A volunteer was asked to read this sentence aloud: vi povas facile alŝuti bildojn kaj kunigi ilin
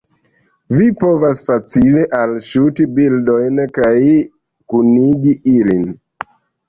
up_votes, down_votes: 0, 2